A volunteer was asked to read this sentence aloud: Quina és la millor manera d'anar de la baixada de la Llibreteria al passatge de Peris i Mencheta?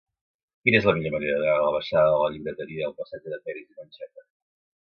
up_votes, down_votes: 0, 2